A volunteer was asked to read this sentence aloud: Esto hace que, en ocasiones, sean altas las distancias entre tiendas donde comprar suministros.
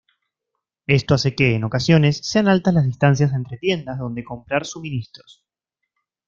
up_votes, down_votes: 1, 2